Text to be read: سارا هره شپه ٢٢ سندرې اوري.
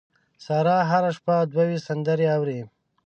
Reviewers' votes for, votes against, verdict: 0, 2, rejected